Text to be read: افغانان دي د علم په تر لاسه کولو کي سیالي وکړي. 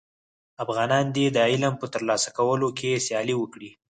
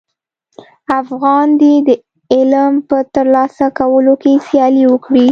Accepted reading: first